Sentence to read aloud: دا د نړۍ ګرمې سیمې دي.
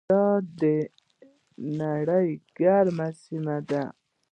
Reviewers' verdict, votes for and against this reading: accepted, 2, 0